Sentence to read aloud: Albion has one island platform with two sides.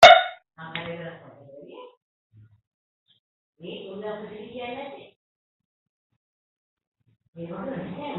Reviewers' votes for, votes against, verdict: 1, 3, rejected